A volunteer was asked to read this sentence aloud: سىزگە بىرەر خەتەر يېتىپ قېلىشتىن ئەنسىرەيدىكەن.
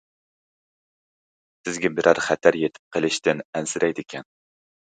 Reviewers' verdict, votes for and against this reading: rejected, 1, 2